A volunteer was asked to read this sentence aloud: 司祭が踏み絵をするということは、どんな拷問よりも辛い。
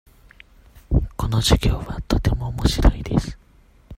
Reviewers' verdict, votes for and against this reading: rejected, 0, 2